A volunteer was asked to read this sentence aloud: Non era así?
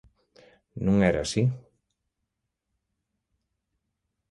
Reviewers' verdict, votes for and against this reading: accepted, 2, 0